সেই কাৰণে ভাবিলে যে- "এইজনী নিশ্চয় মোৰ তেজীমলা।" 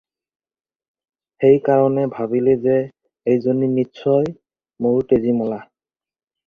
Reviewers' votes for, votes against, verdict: 4, 0, accepted